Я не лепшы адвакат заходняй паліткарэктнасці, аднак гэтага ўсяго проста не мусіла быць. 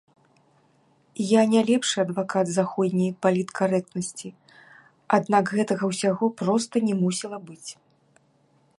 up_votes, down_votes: 0, 2